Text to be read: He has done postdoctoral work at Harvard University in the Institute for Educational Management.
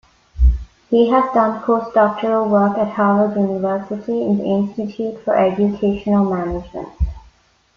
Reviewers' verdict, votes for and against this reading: rejected, 1, 2